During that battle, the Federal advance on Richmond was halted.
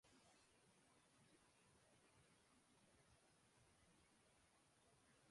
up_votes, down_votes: 0, 2